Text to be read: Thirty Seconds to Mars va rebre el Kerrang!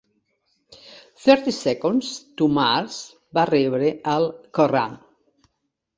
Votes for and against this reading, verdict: 0, 3, rejected